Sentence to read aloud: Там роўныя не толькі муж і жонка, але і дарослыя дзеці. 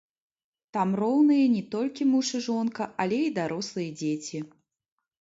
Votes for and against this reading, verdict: 1, 2, rejected